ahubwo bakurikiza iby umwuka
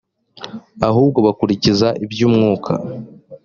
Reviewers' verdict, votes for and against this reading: accepted, 2, 0